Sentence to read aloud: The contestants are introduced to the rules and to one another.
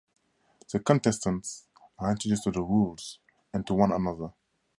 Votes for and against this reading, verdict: 4, 0, accepted